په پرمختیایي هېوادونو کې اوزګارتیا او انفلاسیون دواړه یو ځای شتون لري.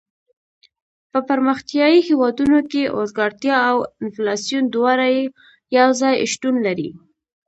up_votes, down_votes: 2, 0